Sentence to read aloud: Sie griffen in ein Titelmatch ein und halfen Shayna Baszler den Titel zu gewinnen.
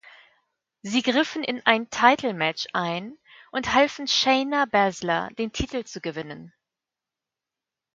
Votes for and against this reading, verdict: 1, 2, rejected